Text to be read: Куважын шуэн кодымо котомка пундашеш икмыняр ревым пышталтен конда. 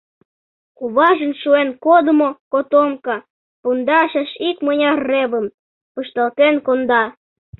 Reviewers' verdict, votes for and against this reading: accepted, 2, 0